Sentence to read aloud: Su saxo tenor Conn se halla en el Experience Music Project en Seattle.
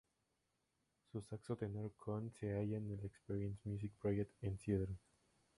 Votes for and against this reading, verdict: 0, 2, rejected